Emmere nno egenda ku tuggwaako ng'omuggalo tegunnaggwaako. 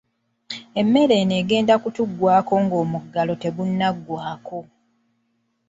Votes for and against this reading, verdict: 1, 2, rejected